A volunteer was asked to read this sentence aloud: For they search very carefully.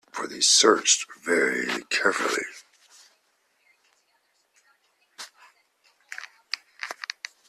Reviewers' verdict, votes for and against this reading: rejected, 1, 2